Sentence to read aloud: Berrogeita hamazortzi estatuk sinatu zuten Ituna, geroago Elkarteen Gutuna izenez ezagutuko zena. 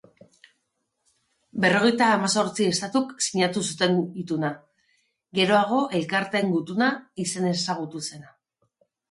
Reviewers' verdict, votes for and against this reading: rejected, 1, 2